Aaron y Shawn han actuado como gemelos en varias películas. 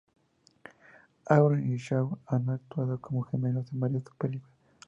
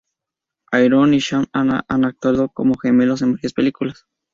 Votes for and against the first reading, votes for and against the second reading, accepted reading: 4, 0, 0, 2, first